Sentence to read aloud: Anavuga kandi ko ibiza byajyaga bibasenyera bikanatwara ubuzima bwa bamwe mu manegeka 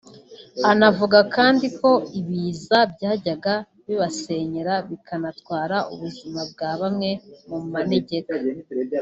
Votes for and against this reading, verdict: 2, 1, accepted